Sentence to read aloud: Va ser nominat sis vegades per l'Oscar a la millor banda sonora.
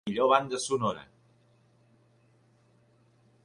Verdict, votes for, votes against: rejected, 0, 3